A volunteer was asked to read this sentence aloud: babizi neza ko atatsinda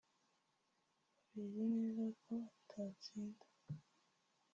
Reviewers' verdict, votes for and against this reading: rejected, 0, 2